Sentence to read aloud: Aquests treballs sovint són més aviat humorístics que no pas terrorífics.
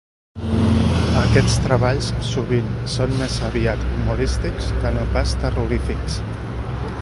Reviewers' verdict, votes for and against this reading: rejected, 1, 2